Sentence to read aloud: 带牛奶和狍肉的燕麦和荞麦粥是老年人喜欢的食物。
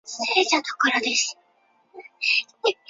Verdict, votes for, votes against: rejected, 0, 5